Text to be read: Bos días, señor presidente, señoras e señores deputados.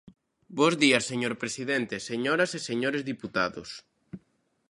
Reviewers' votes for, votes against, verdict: 0, 2, rejected